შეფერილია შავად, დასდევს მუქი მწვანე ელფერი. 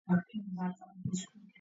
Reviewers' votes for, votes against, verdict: 0, 2, rejected